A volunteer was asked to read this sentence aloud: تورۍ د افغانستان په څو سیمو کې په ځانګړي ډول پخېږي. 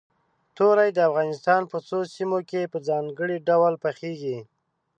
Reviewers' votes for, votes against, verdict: 0, 2, rejected